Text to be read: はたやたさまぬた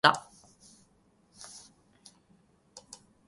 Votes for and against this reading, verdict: 0, 3, rejected